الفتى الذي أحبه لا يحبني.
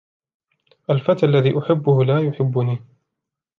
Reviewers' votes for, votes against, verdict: 2, 0, accepted